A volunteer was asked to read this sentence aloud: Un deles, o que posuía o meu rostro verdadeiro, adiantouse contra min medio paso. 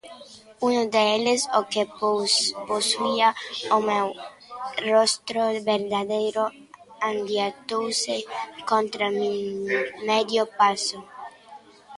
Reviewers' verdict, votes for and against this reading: rejected, 1, 2